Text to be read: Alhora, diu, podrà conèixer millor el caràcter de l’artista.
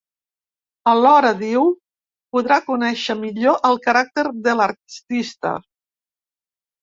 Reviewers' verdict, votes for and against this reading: rejected, 0, 2